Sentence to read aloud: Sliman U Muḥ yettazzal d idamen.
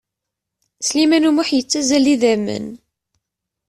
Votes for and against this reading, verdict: 0, 2, rejected